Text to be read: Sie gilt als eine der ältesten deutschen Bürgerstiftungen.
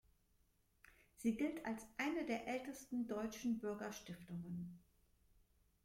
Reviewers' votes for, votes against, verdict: 2, 0, accepted